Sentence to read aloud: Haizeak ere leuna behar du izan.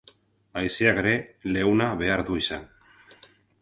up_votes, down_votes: 2, 0